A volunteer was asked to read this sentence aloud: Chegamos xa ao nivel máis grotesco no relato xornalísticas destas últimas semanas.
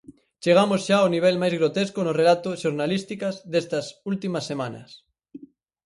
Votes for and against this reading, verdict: 6, 0, accepted